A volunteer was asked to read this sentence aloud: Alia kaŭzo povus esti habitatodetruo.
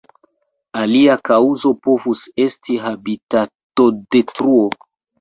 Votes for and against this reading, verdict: 2, 0, accepted